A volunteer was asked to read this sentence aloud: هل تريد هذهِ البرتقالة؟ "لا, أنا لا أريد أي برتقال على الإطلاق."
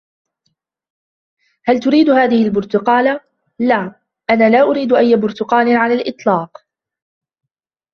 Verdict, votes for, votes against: accepted, 2, 0